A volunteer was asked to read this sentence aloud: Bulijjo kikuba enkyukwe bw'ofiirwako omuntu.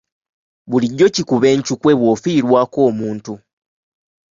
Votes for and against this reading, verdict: 3, 0, accepted